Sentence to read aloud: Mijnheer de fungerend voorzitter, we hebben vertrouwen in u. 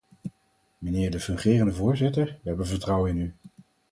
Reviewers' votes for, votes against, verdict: 2, 4, rejected